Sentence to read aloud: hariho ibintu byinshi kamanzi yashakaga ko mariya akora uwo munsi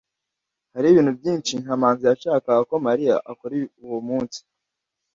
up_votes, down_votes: 1, 2